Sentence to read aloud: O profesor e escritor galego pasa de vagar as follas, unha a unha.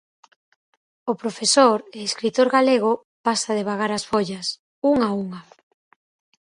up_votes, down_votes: 4, 0